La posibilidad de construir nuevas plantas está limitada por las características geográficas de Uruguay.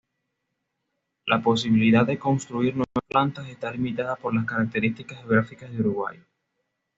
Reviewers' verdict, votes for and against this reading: rejected, 1, 2